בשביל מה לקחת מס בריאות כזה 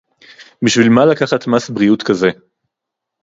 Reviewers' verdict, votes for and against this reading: accepted, 2, 0